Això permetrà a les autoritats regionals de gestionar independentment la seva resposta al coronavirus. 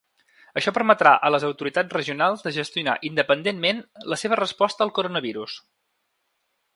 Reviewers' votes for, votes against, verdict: 3, 0, accepted